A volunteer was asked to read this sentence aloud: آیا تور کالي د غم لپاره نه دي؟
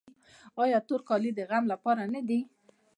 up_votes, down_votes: 2, 0